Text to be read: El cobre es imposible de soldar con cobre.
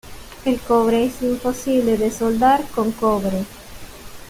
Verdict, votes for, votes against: rejected, 0, 2